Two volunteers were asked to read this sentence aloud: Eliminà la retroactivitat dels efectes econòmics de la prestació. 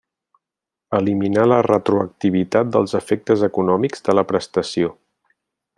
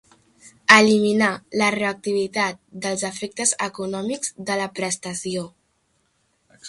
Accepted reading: first